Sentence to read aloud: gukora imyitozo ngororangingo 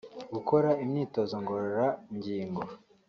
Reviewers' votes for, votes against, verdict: 3, 0, accepted